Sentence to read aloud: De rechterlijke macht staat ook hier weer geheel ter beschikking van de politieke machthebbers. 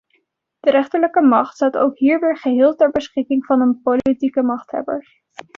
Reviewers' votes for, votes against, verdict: 0, 2, rejected